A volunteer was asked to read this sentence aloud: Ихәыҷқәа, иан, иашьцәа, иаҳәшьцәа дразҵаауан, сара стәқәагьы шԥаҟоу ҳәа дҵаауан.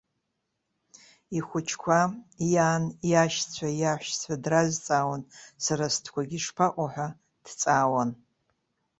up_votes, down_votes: 2, 0